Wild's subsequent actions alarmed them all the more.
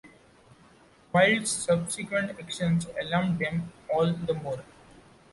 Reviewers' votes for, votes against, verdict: 2, 0, accepted